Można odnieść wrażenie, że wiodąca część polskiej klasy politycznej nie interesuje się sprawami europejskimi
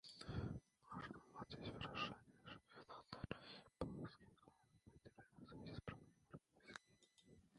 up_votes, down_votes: 0, 2